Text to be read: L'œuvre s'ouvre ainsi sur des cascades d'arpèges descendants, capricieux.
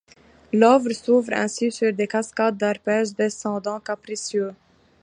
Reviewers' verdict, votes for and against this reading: accepted, 2, 1